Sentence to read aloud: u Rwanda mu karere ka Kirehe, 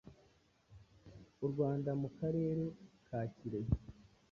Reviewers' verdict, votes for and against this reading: accepted, 2, 0